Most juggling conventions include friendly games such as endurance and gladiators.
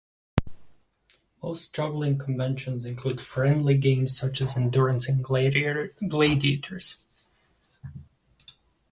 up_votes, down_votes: 0, 2